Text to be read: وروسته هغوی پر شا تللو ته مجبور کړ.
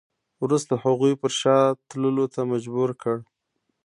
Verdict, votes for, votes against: accepted, 2, 1